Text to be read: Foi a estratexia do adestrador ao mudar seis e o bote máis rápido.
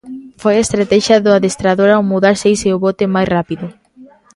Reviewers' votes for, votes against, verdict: 2, 0, accepted